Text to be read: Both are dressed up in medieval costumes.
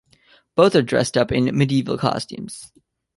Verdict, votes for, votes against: accepted, 2, 0